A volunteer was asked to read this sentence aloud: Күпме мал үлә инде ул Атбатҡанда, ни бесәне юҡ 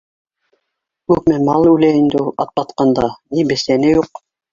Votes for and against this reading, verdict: 1, 2, rejected